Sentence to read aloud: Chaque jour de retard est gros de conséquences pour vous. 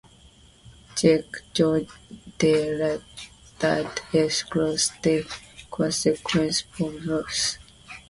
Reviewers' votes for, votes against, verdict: 0, 2, rejected